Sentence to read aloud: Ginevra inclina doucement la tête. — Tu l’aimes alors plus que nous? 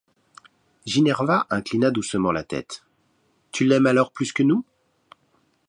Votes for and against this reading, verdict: 1, 2, rejected